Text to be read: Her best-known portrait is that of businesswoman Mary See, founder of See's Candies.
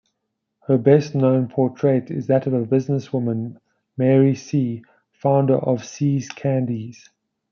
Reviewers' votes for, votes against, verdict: 0, 2, rejected